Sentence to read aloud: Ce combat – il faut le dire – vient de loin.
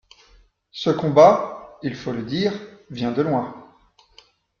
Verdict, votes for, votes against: accepted, 2, 0